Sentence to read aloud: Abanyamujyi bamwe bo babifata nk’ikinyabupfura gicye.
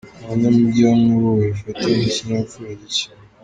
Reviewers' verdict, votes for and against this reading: rejected, 1, 2